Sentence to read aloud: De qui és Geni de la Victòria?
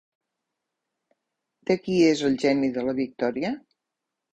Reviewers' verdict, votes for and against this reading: rejected, 0, 2